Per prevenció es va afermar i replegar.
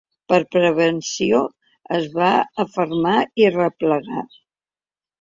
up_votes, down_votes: 2, 0